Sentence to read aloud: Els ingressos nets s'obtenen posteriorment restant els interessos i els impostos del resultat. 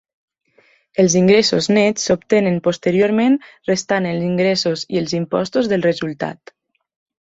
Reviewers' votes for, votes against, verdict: 0, 2, rejected